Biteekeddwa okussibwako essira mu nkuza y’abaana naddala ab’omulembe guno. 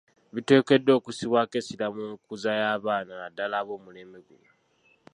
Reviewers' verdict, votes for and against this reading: rejected, 0, 2